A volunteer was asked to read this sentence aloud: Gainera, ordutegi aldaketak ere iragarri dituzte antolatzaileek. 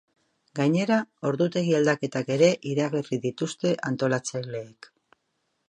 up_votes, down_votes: 3, 0